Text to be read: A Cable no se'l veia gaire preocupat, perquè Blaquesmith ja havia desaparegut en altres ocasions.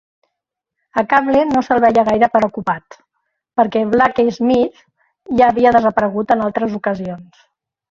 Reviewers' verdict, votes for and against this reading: accepted, 2, 1